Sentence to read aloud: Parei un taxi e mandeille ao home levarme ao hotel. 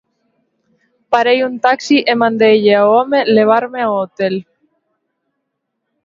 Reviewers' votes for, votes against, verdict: 0, 2, rejected